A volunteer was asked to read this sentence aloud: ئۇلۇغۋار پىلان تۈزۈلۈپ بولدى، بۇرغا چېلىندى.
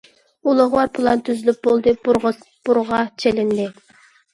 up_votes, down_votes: 0, 2